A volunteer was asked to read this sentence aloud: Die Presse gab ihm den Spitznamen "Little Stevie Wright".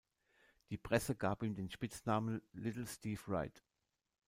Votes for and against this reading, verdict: 0, 2, rejected